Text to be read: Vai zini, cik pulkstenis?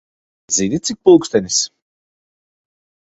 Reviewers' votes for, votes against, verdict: 0, 2, rejected